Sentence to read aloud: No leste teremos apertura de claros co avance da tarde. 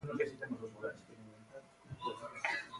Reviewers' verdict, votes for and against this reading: rejected, 0, 2